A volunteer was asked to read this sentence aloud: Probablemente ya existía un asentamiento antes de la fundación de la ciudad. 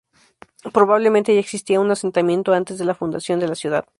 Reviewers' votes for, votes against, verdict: 4, 0, accepted